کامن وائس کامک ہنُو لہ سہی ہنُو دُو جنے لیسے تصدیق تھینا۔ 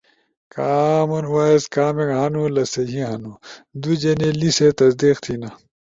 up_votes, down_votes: 2, 0